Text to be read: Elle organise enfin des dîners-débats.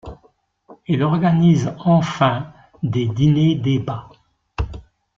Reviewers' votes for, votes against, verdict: 1, 2, rejected